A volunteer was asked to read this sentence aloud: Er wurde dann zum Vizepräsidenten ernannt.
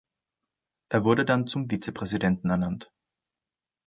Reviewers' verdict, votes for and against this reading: accepted, 2, 0